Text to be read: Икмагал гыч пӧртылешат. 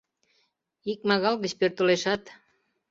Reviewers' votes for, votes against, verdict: 2, 0, accepted